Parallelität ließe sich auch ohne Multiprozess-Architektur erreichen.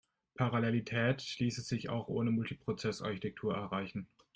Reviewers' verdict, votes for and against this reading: accepted, 2, 0